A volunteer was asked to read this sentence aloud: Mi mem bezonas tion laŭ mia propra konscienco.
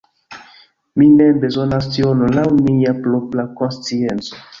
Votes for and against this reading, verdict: 0, 2, rejected